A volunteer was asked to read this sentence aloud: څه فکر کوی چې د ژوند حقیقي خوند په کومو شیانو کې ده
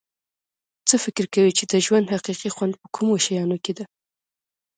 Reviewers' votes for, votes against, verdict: 2, 1, accepted